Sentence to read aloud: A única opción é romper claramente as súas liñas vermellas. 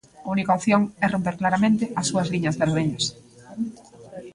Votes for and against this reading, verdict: 0, 2, rejected